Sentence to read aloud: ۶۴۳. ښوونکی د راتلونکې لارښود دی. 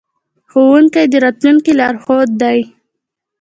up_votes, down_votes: 0, 2